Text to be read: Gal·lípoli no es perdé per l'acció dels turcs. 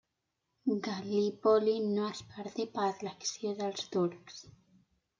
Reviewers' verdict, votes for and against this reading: rejected, 0, 2